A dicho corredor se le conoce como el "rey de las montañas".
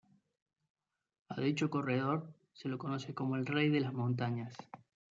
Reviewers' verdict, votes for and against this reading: accepted, 2, 0